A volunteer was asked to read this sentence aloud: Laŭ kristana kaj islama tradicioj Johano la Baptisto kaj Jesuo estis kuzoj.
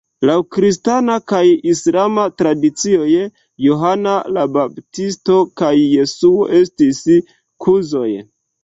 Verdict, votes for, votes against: accepted, 2, 1